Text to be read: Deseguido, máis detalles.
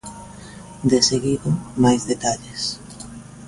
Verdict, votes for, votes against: accepted, 2, 0